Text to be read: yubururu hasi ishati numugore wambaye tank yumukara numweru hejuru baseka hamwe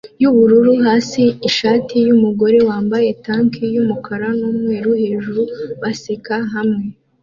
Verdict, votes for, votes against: accepted, 2, 1